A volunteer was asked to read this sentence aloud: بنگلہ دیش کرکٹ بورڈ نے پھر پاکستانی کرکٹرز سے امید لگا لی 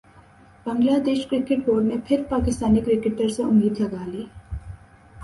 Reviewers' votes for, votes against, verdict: 3, 0, accepted